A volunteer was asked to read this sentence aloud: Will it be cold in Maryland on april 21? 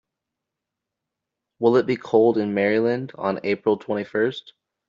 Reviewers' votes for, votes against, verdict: 0, 2, rejected